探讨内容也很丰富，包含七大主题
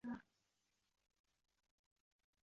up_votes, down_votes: 1, 5